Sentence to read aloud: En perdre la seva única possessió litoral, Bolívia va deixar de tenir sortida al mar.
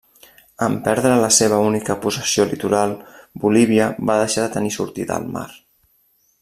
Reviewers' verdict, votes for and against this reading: accepted, 3, 0